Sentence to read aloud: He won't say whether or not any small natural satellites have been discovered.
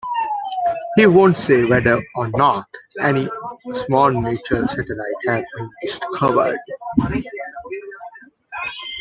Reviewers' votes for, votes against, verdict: 0, 2, rejected